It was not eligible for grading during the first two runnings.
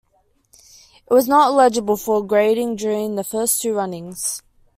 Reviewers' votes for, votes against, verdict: 2, 0, accepted